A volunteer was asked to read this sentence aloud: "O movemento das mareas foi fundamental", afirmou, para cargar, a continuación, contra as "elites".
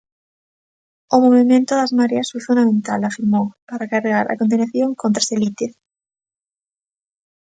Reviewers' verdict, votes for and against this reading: rejected, 0, 2